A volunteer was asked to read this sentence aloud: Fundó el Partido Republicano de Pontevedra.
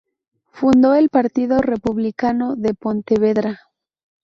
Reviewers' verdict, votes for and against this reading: accepted, 4, 0